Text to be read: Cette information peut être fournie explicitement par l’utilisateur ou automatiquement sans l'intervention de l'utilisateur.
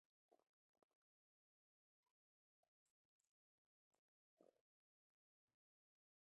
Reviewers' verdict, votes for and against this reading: rejected, 0, 2